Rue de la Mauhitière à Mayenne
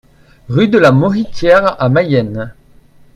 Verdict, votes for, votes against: accepted, 2, 0